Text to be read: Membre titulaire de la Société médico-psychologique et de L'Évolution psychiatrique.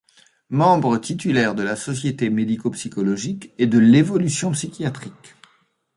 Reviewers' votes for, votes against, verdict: 2, 0, accepted